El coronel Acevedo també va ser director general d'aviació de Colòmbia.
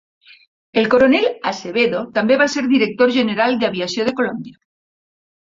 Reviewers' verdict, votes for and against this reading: accepted, 2, 0